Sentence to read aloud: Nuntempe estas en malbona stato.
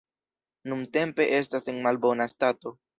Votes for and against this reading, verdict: 2, 0, accepted